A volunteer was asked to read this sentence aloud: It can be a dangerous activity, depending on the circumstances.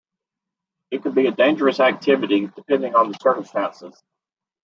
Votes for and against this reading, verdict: 0, 2, rejected